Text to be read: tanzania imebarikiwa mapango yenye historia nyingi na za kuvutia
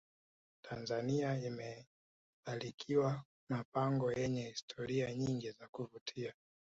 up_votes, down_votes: 2, 0